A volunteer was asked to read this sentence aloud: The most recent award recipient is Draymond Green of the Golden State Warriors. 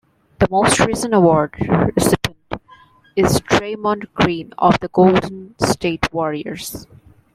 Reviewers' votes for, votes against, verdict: 1, 2, rejected